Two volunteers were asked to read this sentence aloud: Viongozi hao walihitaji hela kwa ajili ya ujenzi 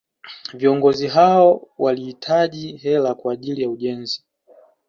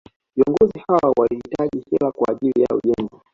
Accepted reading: first